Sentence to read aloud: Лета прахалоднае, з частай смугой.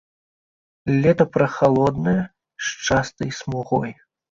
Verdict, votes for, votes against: accepted, 2, 0